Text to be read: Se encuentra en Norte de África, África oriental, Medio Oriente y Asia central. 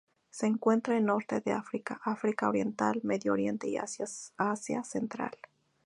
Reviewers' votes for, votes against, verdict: 2, 0, accepted